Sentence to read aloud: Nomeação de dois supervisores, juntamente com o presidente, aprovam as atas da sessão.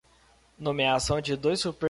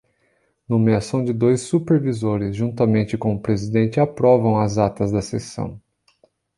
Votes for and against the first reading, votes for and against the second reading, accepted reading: 0, 2, 2, 0, second